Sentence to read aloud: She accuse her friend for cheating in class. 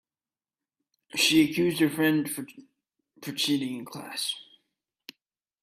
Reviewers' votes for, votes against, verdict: 0, 2, rejected